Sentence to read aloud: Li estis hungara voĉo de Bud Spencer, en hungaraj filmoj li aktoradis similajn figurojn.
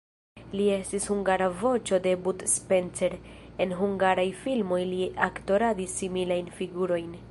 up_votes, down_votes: 2, 0